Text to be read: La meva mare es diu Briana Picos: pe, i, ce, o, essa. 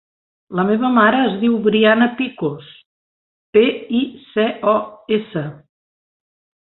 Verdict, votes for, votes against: accepted, 3, 0